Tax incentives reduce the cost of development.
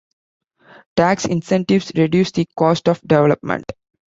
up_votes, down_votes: 2, 0